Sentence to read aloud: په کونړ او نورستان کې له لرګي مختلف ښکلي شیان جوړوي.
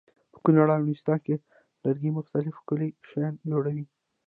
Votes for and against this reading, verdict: 0, 2, rejected